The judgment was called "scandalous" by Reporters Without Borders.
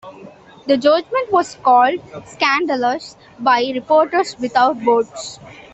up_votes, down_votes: 2, 0